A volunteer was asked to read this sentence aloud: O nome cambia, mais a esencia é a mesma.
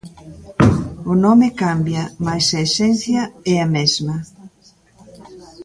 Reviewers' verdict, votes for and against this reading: accepted, 2, 0